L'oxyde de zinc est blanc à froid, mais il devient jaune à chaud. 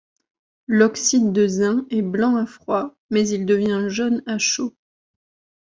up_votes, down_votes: 2, 0